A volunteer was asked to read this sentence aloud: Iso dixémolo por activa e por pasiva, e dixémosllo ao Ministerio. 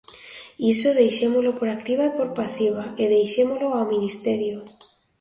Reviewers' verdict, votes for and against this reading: rejected, 0, 2